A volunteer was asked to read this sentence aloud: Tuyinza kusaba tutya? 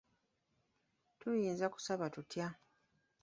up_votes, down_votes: 2, 1